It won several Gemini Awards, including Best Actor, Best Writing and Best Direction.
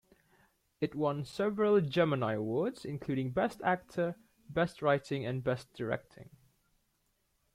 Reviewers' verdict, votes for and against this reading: rejected, 0, 2